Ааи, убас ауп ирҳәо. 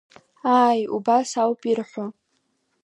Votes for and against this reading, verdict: 2, 0, accepted